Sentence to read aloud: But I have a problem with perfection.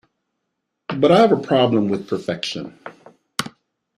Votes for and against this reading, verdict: 2, 0, accepted